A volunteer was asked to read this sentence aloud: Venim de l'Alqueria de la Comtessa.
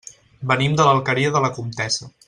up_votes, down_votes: 3, 0